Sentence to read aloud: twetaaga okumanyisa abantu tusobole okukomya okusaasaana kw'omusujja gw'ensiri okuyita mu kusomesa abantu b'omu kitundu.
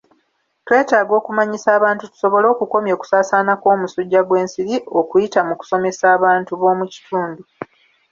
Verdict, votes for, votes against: accepted, 2, 0